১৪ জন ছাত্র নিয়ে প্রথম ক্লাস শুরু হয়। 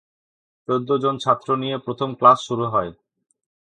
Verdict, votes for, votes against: rejected, 0, 2